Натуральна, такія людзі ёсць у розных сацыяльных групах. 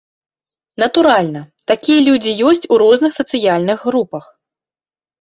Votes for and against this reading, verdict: 2, 0, accepted